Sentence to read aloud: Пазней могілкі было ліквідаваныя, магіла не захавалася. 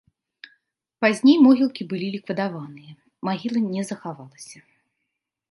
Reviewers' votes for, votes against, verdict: 0, 2, rejected